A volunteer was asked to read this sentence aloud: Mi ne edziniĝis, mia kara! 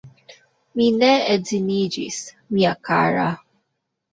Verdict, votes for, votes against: rejected, 0, 2